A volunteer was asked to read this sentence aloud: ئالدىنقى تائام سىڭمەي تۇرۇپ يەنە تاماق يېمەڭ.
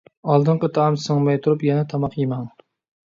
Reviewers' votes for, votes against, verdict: 2, 0, accepted